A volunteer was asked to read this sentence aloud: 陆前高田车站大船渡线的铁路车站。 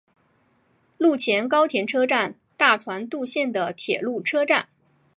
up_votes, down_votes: 5, 0